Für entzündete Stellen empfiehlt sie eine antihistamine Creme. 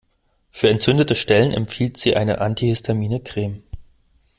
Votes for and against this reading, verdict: 2, 0, accepted